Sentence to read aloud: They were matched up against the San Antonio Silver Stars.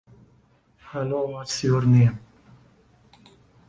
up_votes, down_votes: 0, 2